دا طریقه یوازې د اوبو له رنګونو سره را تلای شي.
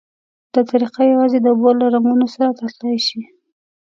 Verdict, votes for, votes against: rejected, 1, 2